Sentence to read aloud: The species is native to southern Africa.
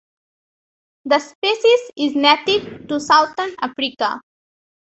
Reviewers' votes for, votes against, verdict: 3, 0, accepted